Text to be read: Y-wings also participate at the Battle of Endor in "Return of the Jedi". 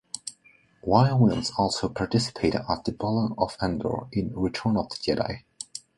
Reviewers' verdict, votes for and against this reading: accepted, 2, 0